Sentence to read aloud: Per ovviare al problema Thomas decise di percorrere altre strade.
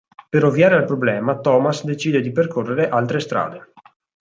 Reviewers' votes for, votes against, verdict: 2, 4, rejected